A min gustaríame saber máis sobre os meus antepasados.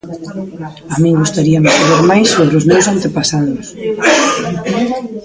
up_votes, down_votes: 0, 2